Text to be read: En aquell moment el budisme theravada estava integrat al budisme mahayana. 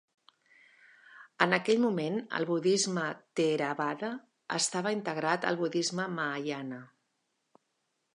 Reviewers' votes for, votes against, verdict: 3, 0, accepted